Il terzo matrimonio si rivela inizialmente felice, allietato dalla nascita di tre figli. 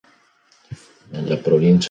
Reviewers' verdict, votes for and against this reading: rejected, 0, 2